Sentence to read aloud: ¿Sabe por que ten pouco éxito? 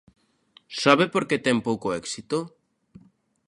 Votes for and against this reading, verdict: 2, 0, accepted